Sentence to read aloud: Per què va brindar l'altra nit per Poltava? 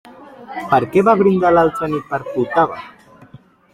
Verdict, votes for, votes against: rejected, 0, 2